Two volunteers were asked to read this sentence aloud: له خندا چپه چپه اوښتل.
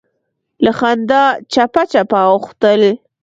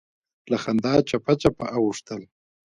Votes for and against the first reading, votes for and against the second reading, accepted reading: 2, 1, 0, 2, first